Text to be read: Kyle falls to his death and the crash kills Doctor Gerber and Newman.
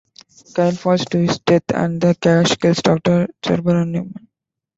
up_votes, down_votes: 0, 2